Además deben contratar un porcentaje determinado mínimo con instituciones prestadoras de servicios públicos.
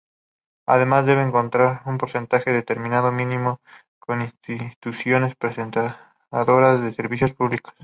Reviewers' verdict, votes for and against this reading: rejected, 0, 2